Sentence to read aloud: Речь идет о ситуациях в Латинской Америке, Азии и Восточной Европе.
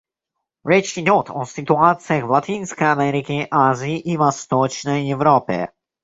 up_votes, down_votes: 1, 2